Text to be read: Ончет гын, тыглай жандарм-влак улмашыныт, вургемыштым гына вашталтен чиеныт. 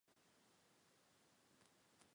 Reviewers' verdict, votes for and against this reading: rejected, 1, 2